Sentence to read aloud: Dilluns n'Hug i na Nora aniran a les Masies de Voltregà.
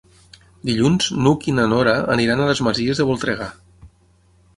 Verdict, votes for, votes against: accepted, 6, 0